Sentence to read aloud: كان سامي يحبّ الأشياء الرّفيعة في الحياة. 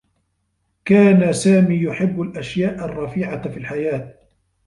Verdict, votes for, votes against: accepted, 2, 0